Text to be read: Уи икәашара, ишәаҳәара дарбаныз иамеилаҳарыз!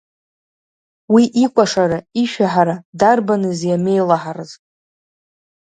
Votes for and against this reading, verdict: 2, 1, accepted